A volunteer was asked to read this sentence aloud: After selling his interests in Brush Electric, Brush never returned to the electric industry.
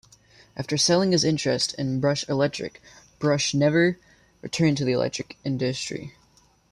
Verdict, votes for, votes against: accepted, 2, 0